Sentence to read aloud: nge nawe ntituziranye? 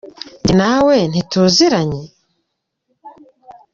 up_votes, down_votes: 2, 0